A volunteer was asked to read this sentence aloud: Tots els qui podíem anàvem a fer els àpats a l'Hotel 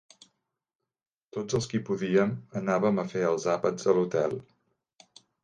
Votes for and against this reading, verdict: 3, 0, accepted